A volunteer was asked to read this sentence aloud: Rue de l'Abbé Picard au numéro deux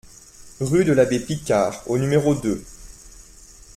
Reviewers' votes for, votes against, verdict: 2, 0, accepted